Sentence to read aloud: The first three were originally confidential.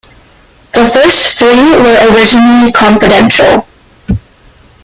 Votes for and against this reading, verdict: 0, 2, rejected